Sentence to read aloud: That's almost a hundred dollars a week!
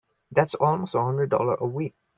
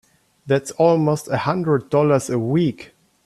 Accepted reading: second